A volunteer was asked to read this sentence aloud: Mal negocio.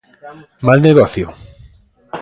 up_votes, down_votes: 3, 0